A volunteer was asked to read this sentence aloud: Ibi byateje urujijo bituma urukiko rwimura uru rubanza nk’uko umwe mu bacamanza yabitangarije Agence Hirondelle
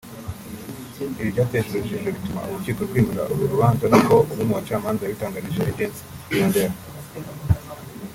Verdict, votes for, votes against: rejected, 1, 2